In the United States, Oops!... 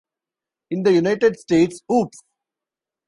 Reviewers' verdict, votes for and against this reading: accepted, 2, 1